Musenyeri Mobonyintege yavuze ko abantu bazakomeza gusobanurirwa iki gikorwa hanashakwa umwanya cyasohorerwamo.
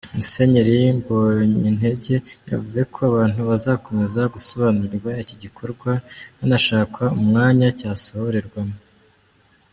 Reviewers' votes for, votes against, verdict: 0, 2, rejected